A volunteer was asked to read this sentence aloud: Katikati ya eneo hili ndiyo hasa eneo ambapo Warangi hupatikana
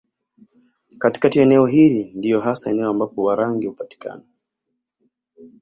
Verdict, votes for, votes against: rejected, 0, 2